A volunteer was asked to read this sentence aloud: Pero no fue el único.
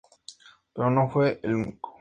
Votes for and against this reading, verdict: 4, 0, accepted